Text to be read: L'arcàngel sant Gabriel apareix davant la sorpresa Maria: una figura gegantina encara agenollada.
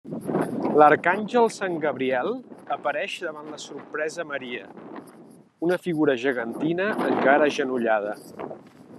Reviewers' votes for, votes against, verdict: 2, 0, accepted